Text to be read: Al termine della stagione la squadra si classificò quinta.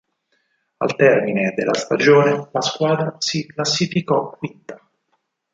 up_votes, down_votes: 2, 4